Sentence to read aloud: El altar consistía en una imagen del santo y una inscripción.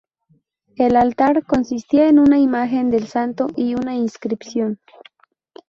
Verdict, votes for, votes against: accepted, 2, 0